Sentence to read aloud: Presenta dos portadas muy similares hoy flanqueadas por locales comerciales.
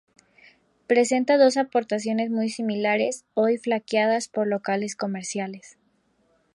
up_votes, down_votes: 0, 2